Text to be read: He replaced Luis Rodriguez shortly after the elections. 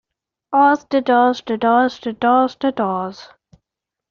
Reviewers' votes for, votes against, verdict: 0, 2, rejected